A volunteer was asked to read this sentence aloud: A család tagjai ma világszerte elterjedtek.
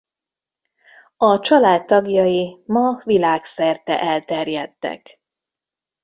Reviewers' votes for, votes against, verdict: 2, 0, accepted